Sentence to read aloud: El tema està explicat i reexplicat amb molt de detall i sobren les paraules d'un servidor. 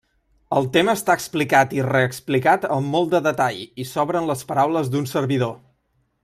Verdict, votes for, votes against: accepted, 2, 1